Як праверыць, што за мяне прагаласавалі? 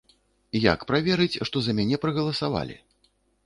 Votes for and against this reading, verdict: 2, 0, accepted